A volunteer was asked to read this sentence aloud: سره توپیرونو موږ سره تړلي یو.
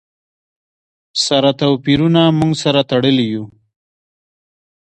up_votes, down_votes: 1, 2